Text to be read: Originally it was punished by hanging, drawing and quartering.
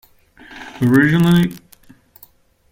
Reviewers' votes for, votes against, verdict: 0, 2, rejected